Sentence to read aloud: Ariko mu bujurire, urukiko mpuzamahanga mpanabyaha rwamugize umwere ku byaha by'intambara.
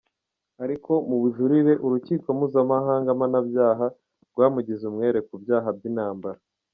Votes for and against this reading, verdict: 0, 2, rejected